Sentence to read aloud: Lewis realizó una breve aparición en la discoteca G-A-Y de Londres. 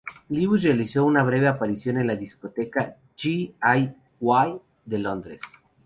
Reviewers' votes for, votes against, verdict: 0, 2, rejected